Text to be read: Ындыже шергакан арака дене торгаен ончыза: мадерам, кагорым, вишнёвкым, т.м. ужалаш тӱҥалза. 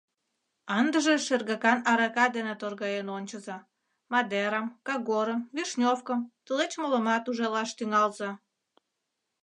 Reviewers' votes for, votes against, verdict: 0, 3, rejected